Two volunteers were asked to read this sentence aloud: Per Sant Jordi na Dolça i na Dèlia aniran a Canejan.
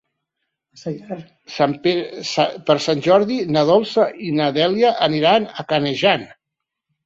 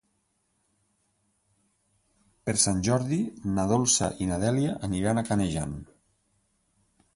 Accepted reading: second